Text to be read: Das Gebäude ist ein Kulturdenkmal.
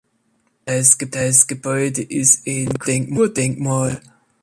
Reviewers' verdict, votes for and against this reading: rejected, 0, 2